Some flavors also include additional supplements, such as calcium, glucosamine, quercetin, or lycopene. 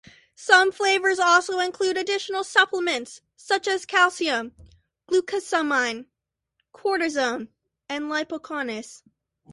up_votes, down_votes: 0, 2